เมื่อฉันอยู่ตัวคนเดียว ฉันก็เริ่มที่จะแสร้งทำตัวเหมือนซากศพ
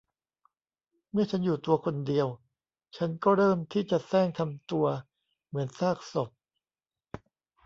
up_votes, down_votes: 2, 0